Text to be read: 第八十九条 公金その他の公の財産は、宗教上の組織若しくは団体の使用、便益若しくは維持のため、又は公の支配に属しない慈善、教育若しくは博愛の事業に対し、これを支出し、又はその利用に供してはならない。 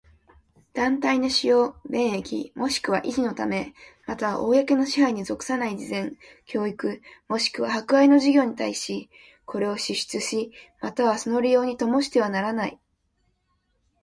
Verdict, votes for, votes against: accepted, 2, 1